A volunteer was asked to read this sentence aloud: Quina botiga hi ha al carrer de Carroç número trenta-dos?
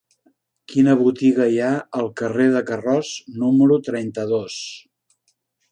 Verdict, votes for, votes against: accepted, 2, 0